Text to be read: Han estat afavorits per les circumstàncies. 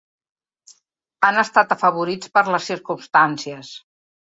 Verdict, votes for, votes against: accepted, 4, 0